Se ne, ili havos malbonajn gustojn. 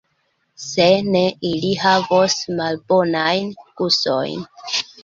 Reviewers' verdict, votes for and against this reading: accepted, 2, 1